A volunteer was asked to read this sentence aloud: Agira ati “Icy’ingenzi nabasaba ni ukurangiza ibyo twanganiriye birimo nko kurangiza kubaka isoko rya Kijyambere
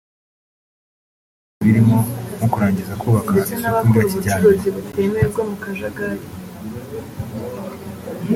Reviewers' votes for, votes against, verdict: 0, 2, rejected